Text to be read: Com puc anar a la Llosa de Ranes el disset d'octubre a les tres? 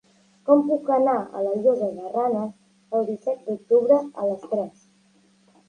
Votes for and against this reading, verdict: 1, 2, rejected